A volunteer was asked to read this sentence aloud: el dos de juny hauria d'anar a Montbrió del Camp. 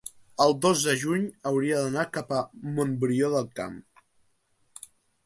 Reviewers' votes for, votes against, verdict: 0, 2, rejected